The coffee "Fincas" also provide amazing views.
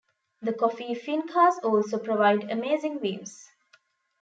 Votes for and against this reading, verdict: 2, 0, accepted